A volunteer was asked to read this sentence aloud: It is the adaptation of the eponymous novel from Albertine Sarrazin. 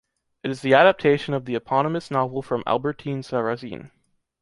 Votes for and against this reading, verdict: 2, 0, accepted